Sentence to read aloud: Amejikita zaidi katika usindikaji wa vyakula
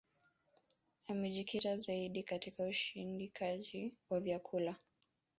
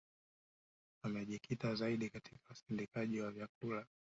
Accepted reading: first